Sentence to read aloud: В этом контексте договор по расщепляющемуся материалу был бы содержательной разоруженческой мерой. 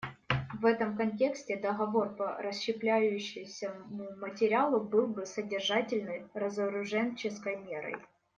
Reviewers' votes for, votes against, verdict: 1, 2, rejected